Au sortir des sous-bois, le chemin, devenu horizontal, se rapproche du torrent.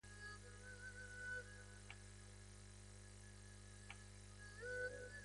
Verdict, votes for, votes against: rejected, 1, 2